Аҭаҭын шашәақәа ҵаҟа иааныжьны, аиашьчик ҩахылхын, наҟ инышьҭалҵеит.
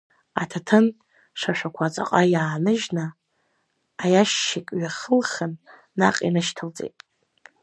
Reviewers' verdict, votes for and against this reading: rejected, 1, 2